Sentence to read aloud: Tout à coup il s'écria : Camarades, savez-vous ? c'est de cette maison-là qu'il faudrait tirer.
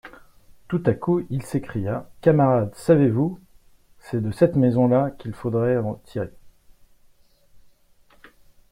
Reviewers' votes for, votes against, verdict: 0, 2, rejected